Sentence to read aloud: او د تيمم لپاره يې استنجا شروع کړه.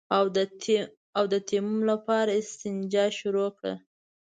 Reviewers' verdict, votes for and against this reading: rejected, 0, 2